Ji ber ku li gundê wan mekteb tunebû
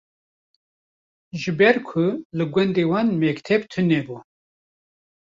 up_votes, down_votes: 0, 2